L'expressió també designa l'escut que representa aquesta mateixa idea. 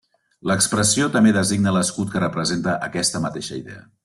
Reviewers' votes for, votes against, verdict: 3, 0, accepted